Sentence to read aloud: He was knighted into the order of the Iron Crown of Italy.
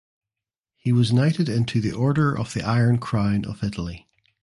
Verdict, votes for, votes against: accepted, 2, 0